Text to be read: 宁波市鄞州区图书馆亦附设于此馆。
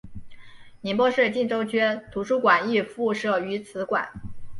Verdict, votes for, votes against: accepted, 6, 0